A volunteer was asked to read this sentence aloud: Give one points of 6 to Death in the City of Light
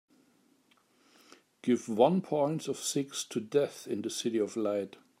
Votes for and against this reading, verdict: 0, 2, rejected